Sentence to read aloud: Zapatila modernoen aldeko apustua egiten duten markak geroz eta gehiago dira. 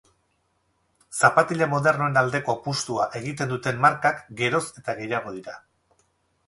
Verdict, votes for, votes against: accepted, 4, 0